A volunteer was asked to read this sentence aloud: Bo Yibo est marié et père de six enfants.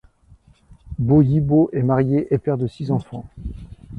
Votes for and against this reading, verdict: 2, 1, accepted